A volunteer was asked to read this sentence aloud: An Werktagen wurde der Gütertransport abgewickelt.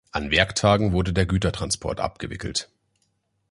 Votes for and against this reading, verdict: 2, 0, accepted